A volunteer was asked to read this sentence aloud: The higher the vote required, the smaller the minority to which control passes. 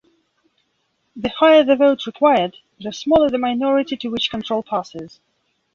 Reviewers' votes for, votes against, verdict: 2, 0, accepted